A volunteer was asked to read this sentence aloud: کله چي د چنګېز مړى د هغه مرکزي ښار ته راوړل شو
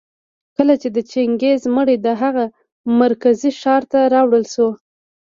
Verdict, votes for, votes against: rejected, 1, 2